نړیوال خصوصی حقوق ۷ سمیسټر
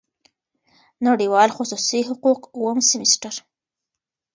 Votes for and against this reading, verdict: 0, 2, rejected